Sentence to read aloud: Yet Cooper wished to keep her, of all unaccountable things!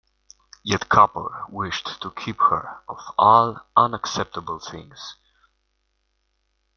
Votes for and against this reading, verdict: 0, 2, rejected